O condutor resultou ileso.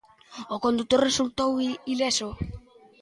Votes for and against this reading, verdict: 1, 2, rejected